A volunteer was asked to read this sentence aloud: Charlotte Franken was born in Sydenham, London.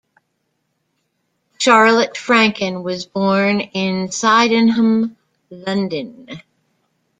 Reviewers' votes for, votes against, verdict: 1, 2, rejected